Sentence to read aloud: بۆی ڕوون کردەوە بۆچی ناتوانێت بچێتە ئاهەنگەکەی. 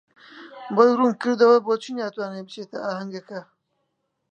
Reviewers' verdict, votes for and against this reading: rejected, 0, 2